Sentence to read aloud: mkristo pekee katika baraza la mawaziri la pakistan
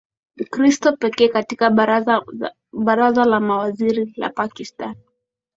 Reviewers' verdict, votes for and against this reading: accepted, 2, 0